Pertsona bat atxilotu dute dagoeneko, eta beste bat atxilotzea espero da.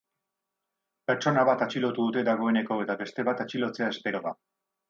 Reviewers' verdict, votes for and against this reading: rejected, 2, 2